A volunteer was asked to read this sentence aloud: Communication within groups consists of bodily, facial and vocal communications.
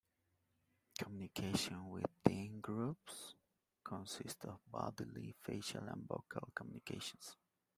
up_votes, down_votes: 0, 2